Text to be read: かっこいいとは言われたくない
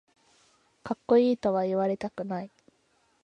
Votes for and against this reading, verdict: 2, 0, accepted